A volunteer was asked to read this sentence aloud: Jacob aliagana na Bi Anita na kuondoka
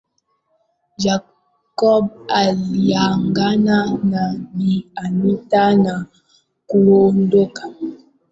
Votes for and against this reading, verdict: 0, 2, rejected